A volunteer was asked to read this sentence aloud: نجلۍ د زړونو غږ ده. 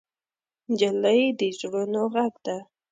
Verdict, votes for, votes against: rejected, 1, 2